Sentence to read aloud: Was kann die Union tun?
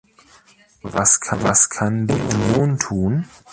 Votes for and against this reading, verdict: 1, 2, rejected